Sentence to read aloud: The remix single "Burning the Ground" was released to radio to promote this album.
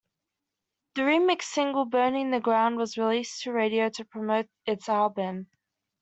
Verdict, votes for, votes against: accepted, 2, 0